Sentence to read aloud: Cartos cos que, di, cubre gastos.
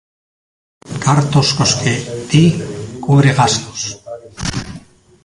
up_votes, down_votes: 0, 2